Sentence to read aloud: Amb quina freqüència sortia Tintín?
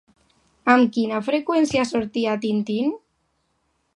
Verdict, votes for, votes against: accepted, 2, 0